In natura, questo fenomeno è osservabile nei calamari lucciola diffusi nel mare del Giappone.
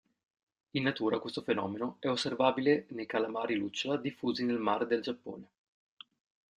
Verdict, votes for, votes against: accepted, 2, 0